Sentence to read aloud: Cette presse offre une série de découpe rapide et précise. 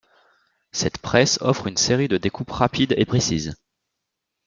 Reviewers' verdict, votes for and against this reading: accepted, 2, 0